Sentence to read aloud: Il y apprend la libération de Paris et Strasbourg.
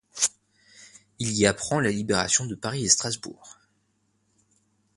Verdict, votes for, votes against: accepted, 2, 0